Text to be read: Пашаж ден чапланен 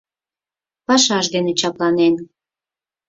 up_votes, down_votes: 2, 4